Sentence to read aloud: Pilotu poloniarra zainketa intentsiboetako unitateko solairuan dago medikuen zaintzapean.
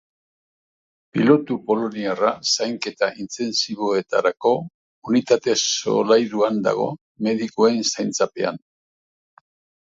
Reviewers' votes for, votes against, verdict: 1, 2, rejected